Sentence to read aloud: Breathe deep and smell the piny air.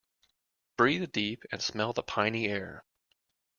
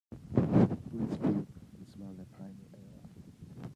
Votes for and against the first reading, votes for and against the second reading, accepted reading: 2, 0, 0, 2, first